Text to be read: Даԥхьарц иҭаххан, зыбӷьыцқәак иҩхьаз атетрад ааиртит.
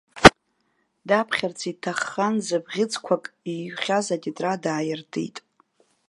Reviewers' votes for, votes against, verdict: 1, 2, rejected